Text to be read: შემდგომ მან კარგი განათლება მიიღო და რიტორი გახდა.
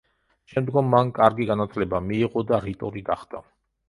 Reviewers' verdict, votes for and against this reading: accepted, 2, 0